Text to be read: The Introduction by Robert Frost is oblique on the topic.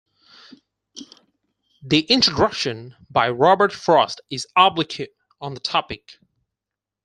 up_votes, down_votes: 0, 4